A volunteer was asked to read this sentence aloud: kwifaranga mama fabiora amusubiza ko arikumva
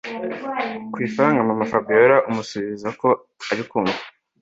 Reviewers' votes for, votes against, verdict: 2, 0, accepted